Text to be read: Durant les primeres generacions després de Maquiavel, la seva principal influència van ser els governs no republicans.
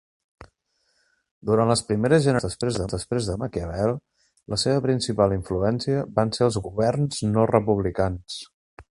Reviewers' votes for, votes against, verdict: 0, 2, rejected